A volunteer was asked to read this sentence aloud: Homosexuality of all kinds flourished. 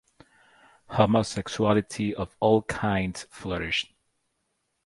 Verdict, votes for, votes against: accepted, 4, 0